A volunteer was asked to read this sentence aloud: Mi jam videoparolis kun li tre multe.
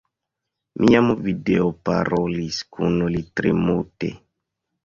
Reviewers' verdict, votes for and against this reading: accepted, 2, 0